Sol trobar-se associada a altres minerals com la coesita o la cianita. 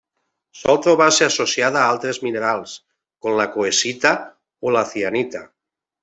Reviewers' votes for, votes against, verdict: 1, 2, rejected